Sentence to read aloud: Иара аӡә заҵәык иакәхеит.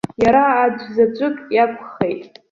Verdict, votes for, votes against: rejected, 1, 2